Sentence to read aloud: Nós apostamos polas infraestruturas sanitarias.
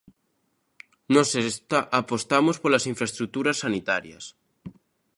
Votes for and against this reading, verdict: 0, 2, rejected